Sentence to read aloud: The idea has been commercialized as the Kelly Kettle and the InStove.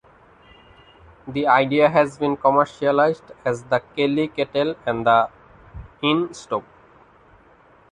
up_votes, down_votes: 0, 2